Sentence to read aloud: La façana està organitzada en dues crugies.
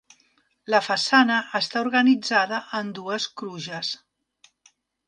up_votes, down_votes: 0, 2